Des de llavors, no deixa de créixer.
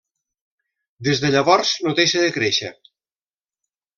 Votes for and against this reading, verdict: 3, 0, accepted